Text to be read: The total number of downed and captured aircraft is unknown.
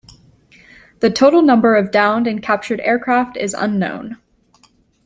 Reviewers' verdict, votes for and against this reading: accepted, 2, 0